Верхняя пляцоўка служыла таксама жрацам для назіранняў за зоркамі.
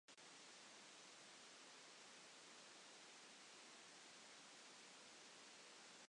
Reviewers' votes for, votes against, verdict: 0, 2, rejected